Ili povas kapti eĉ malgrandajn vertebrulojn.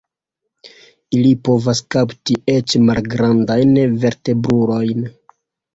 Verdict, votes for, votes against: accepted, 2, 1